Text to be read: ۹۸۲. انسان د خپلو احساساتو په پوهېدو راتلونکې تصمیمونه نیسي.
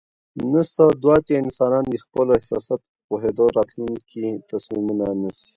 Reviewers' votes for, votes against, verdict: 0, 2, rejected